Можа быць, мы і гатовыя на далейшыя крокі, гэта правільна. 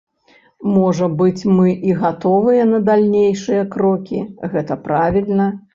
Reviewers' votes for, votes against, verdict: 0, 2, rejected